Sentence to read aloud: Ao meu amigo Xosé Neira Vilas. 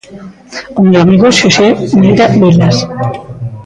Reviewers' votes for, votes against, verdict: 2, 1, accepted